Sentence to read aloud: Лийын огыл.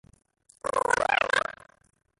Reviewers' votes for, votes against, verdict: 0, 2, rejected